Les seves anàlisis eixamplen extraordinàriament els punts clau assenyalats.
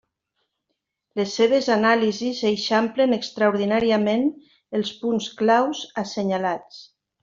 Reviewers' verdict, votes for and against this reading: rejected, 1, 2